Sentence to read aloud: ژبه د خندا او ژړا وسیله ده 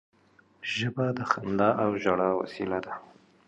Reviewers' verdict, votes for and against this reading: accepted, 2, 0